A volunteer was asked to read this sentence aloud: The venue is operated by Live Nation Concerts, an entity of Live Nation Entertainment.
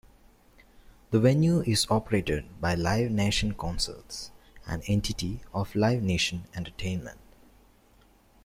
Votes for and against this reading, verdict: 2, 0, accepted